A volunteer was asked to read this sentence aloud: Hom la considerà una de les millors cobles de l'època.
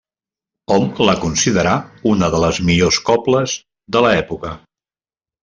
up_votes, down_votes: 0, 2